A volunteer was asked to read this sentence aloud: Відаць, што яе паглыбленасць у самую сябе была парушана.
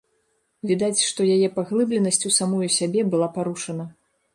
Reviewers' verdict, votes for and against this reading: accepted, 2, 0